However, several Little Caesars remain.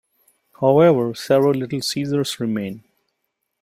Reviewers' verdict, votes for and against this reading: accepted, 2, 0